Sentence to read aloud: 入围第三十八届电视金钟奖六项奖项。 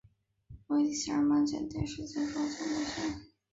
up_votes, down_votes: 0, 2